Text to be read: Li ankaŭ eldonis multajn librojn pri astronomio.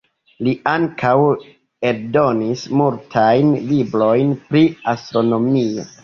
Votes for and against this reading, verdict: 1, 2, rejected